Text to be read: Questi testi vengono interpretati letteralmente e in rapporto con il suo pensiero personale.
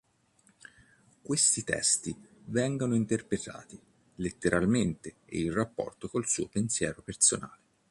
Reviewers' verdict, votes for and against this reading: accepted, 2, 0